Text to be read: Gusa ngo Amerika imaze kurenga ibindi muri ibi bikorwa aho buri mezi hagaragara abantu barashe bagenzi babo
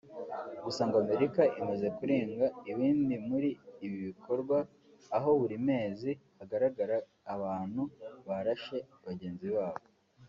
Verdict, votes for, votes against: accepted, 2, 0